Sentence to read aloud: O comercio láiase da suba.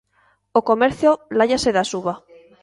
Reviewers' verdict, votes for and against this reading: accepted, 2, 0